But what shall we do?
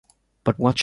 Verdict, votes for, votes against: rejected, 1, 2